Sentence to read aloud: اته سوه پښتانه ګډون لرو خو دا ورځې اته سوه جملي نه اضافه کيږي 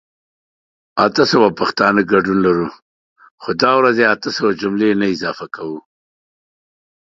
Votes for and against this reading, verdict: 0, 2, rejected